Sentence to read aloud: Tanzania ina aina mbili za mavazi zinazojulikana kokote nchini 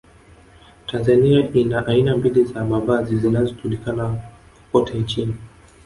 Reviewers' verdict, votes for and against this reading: rejected, 1, 2